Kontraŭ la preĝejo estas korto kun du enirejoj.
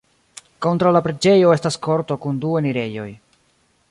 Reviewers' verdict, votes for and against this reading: accepted, 2, 0